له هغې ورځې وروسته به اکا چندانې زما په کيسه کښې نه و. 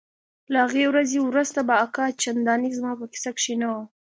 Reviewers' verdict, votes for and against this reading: accepted, 2, 0